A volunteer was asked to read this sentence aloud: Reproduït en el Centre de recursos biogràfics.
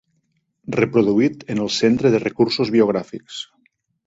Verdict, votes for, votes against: accepted, 3, 0